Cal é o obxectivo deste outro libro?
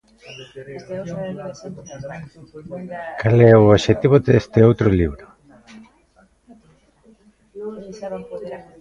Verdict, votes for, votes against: rejected, 0, 2